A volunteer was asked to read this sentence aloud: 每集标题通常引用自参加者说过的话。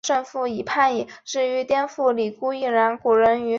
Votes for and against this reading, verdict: 0, 3, rejected